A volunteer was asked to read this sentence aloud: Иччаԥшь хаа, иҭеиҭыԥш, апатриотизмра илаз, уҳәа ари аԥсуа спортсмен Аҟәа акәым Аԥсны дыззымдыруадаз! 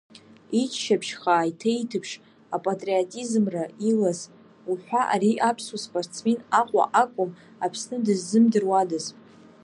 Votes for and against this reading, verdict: 1, 2, rejected